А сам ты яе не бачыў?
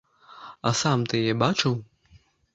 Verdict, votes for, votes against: rejected, 0, 2